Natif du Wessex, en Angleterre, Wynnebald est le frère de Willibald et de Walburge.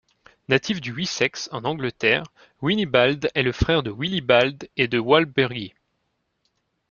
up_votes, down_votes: 1, 2